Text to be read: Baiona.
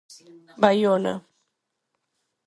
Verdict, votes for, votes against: accepted, 4, 0